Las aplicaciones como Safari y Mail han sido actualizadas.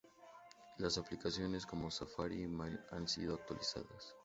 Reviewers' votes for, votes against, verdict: 2, 0, accepted